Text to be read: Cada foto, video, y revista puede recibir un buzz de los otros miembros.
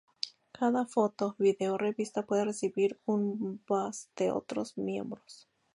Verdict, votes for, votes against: rejected, 0, 2